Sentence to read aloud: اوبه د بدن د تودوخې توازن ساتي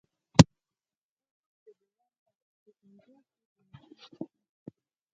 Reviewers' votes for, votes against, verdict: 0, 4, rejected